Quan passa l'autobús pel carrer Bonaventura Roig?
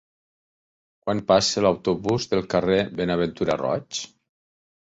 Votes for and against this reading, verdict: 0, 4, rejected